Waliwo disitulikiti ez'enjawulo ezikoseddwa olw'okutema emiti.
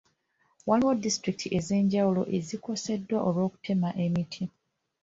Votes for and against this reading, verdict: 2, 1, accepted